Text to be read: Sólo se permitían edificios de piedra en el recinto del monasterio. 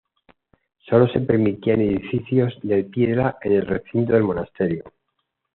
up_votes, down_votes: 2, 0